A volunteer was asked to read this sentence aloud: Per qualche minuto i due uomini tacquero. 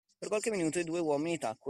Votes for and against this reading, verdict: 2, 1, accepted